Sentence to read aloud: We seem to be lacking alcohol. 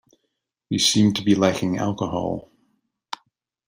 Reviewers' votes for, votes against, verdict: 2, 0, accepted